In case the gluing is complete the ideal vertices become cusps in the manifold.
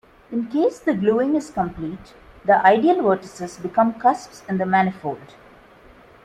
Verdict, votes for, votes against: accepted, 2, 0